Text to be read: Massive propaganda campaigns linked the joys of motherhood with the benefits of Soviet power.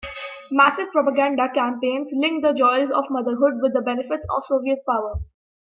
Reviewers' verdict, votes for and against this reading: accepted, 2, 0